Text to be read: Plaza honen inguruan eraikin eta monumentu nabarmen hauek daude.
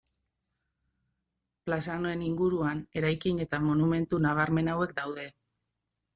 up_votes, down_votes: 2, 0